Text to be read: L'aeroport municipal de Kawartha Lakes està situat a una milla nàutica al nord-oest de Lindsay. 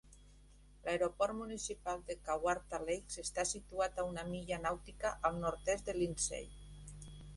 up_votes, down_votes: 2, 3